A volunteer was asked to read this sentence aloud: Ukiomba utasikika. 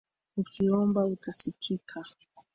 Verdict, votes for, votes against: accepted, 3, 0